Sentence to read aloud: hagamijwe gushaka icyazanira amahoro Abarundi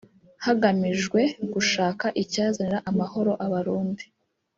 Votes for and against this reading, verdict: 1, 2, rejected